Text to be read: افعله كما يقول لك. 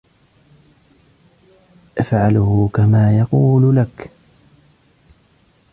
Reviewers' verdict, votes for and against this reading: rejected, 0, 2